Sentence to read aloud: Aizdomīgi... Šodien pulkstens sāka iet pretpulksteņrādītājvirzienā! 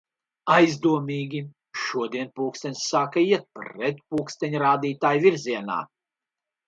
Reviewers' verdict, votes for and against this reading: accepted, 2, 0